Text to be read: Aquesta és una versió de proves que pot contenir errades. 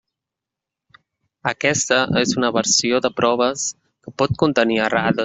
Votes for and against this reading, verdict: 0, 2, rejected